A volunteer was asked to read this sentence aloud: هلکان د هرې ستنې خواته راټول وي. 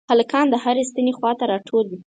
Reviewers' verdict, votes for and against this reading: accepted, 4, 0